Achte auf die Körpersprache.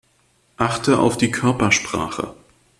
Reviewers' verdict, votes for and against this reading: accepted, 2, 0